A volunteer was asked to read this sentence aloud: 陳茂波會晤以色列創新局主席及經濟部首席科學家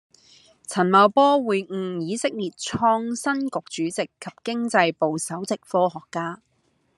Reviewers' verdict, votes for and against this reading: accepted, 2, 0